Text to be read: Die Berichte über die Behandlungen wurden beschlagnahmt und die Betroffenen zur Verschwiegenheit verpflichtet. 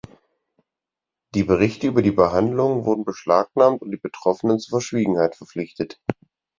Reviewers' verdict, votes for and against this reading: accepted, 4, 0